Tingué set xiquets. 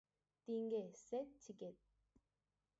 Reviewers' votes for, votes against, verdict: 2, 4, rejected